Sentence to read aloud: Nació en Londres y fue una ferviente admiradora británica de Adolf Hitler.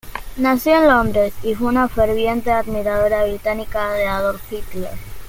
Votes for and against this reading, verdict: 2, 0, accepted